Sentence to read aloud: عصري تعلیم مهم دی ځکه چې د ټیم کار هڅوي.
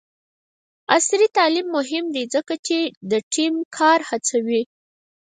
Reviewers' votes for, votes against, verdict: 4, 0, accepted